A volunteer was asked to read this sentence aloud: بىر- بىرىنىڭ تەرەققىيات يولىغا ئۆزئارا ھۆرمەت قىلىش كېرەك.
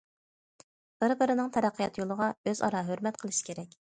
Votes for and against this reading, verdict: 2, 0, accepted